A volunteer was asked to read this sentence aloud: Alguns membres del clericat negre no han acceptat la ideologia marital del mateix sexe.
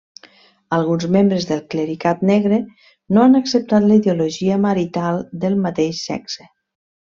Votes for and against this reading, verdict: 2, 0, accepted